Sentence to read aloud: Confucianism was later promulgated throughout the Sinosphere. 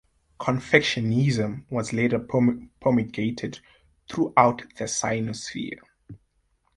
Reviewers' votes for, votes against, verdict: 1, 2, rejected